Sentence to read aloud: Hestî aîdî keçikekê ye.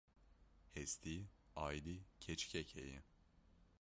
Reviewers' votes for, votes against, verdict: 0, 2, rejected